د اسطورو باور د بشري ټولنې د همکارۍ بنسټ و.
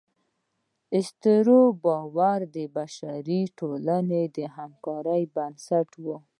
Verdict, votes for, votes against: accepted, 2, 0